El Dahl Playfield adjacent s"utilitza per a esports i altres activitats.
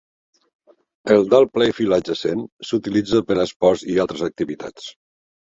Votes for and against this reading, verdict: 2, 0, accepted